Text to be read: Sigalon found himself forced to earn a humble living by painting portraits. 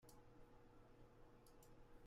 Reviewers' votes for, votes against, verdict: 0, 2, rejected